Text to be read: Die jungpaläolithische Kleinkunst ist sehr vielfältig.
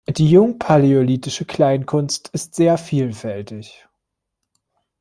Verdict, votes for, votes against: accepted, 2, 0